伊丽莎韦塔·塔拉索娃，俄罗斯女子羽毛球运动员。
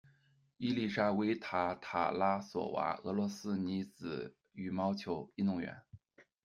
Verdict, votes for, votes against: accepted, 2, 0